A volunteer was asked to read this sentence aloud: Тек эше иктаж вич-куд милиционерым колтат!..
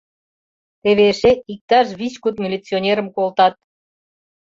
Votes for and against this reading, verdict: 1, 2, rejected